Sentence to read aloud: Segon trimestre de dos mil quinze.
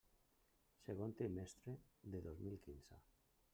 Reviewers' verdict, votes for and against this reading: rejected, 1, 2